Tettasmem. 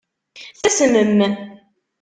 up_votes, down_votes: 0, 2